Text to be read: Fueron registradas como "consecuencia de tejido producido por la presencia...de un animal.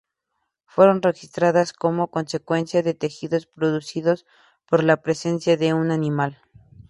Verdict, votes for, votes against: rejected, 0, 2